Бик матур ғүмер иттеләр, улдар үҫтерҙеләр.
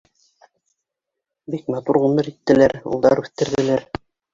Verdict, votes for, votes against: rejected, 2, 3